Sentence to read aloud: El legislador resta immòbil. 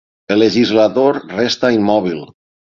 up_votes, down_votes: 9, 0